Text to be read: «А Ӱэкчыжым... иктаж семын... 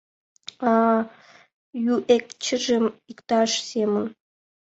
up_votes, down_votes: 1, 2